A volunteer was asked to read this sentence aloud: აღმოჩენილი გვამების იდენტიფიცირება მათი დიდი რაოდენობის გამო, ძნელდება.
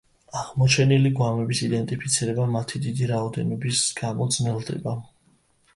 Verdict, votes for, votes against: accepted, 2, 0